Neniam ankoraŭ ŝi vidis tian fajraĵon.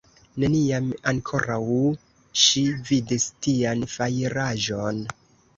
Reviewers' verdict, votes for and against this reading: rejected, 1, 2